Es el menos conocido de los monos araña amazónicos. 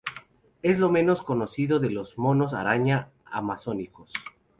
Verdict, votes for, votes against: rejected, 0, 4